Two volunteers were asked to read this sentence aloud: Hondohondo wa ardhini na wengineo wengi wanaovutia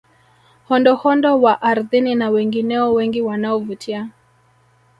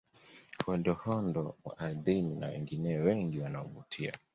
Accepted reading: second